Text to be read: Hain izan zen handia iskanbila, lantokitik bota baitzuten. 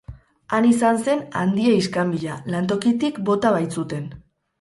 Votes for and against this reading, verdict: 0, 2, rejected